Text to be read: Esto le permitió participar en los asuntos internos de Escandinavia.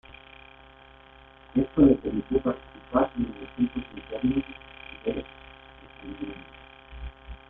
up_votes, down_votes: 0, 2